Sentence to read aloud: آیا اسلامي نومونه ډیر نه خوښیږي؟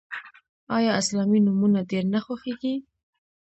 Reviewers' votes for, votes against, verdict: 0, 2, rejected